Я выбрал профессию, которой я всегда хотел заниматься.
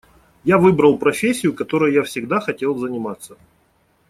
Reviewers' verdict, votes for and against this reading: accepted, 2, 0